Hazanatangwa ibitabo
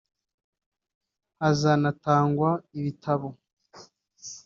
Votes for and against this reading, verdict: 0, 2, rejected